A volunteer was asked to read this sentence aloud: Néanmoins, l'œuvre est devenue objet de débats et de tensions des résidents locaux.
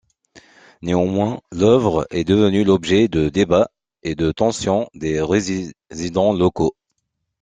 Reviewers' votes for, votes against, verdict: 0, 2, rejected